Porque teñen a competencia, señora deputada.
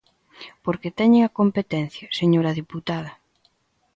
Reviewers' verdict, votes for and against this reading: accepted, 2, 0